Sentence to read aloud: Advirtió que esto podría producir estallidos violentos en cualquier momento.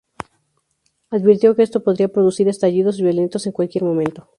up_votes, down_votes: 2, 0